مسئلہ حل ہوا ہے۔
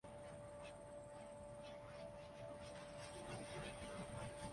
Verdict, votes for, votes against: rejected, 0, 2